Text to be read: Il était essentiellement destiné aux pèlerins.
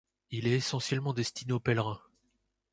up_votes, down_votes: 0, 2